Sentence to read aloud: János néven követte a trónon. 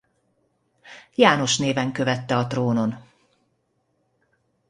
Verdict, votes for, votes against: accepted, 2, 0